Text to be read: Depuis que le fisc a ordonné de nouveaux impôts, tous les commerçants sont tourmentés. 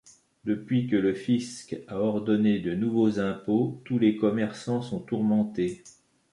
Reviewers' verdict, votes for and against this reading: accepted, 3, 0